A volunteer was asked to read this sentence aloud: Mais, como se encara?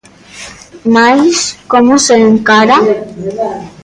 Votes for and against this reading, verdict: 1, 2, rejected